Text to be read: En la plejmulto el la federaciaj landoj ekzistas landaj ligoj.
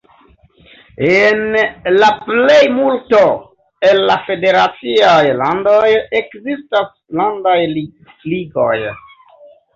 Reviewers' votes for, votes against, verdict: 1, 3, rejected